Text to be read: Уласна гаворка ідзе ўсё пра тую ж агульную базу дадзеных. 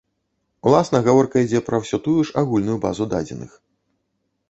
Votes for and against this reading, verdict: 0, 2, rejected